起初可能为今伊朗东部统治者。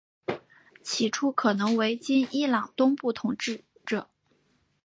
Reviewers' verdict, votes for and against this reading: accepted, 2, 0